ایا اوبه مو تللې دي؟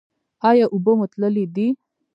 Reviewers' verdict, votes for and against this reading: rejected, 0, 2